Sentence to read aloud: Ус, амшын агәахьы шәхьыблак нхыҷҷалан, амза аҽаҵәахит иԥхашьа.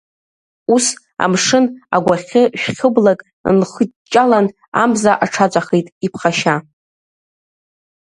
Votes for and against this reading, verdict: 2, 0, accepted